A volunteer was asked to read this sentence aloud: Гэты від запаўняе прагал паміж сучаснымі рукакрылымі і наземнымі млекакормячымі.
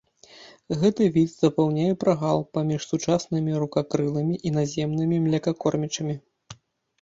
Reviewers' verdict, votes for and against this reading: accepted, 2, 0